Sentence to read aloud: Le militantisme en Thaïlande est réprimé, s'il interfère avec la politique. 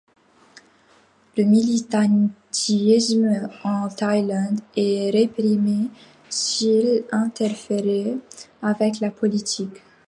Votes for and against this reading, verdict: 0, 2, rejected